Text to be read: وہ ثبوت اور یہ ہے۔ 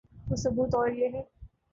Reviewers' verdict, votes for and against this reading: rejected, 1, 2